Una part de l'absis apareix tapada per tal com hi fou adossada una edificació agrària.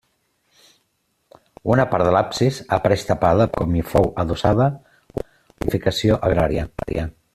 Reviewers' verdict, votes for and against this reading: rejected, 0, 2